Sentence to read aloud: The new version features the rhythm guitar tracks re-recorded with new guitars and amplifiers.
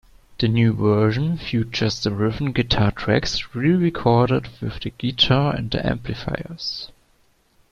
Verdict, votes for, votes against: rejected, 0, 2